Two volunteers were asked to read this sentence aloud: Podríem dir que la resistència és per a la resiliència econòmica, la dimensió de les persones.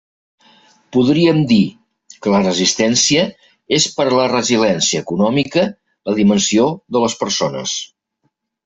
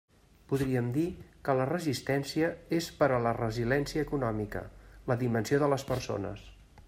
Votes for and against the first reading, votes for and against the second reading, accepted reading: 2, 1, 1, 2, first